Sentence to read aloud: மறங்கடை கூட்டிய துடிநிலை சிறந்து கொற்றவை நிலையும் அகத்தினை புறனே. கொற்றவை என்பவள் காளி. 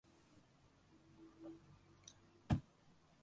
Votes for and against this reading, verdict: 0, 2, rejected